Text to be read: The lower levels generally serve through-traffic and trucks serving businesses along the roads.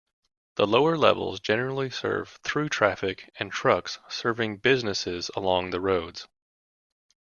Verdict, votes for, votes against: accepted, 2, 0